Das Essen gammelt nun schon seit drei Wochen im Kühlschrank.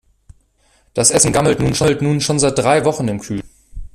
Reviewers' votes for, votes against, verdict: 0, 2, rejected